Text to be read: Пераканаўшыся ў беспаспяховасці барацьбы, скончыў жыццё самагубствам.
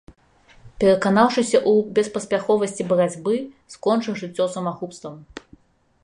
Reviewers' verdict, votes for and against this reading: accepted, 2, 0